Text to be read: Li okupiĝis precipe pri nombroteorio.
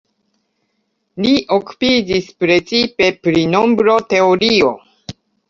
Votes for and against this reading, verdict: 2, 1, accepted